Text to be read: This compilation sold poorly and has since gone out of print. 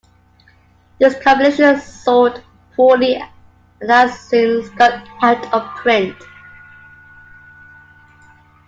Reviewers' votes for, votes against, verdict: 2, 1, accepted